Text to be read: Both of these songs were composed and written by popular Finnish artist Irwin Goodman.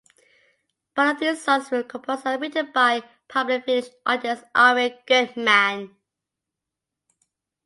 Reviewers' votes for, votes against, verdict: 0, 2, rejected